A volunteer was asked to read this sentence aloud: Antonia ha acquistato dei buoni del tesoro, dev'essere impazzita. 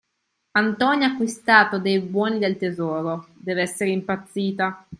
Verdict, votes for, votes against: accepted, 2, 0